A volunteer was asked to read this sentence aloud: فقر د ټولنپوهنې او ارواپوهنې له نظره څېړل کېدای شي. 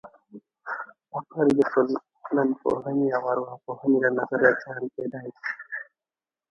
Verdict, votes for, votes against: rejected, 2, 4